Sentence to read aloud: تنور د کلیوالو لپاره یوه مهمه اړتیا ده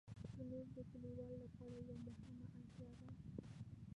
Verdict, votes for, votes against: rejected, 0, 2